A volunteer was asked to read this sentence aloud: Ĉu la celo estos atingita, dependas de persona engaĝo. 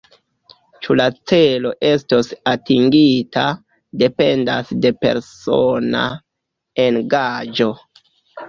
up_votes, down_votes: 2, 0